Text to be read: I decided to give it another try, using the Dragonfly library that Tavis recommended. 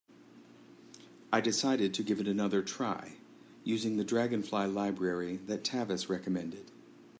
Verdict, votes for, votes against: accepted, 2, 0